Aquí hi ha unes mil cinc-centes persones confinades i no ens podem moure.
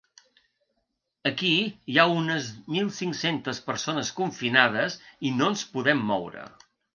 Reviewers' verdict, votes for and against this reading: accepted, 3, 0